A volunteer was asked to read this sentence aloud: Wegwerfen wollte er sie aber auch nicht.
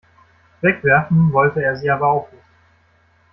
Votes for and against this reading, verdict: 0, 2, rejected